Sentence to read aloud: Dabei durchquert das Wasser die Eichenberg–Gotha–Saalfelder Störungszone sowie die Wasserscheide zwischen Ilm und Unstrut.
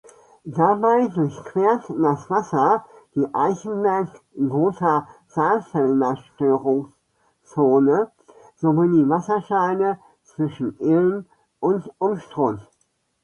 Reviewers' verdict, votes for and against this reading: accepted, 2, 0